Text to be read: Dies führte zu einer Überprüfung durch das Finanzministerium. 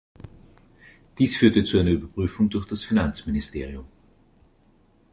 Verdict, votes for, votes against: accepted, 2, 0